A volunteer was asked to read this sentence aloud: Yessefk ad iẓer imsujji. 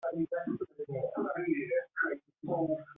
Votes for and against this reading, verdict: 0, 2, rejected